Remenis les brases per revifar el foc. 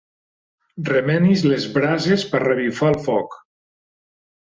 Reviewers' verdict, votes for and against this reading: accepted, 4, 0